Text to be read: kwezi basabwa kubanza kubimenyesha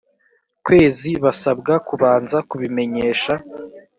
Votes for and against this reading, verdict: 3, 0, accepted